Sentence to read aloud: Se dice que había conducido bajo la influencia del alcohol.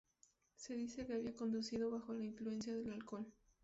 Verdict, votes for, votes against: accepted, 2, 0